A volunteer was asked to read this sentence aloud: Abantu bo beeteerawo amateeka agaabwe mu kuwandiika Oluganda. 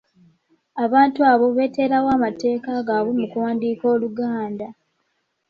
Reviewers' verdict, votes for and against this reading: rejected, 1, 2